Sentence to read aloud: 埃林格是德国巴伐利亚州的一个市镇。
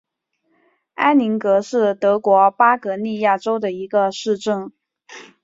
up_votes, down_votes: 2, 0